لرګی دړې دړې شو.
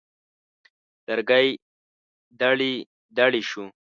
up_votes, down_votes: 2, 0